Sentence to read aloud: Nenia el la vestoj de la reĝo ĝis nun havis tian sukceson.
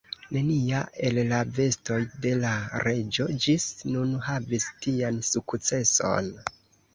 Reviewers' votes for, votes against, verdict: 1, 2, rejected